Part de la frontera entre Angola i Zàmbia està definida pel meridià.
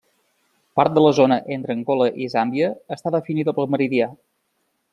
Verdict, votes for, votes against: rejected, 0, 2